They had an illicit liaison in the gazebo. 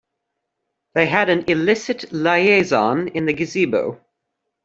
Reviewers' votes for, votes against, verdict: 2, 0, accepted